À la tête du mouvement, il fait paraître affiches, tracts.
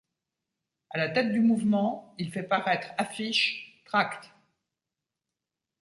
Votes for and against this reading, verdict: 2, 1, accepted